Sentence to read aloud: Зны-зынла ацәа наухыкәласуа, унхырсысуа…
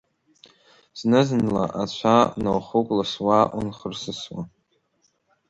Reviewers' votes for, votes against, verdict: 2, 1, accepted